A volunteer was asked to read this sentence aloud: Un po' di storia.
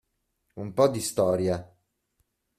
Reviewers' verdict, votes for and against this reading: accepted, 2, 0